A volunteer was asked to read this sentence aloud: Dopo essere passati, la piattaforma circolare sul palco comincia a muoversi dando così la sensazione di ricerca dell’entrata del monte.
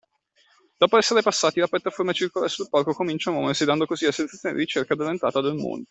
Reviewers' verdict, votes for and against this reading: rejected, 1, 2